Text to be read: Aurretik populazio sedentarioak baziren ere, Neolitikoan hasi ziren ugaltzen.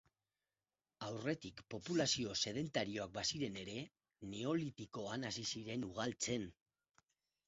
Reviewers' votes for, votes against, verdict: 2, 2, rejected